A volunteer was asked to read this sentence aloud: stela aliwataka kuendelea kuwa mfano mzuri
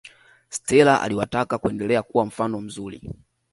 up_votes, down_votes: 2, 0